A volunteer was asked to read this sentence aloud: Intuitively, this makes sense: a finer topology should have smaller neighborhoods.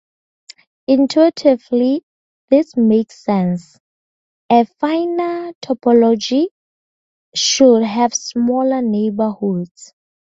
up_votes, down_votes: 4, 0